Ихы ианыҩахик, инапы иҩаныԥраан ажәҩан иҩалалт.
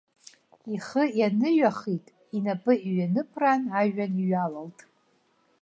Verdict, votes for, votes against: accepted, 2, 1